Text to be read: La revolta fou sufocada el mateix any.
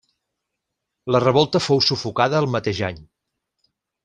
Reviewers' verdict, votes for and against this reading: accepted, 6, 0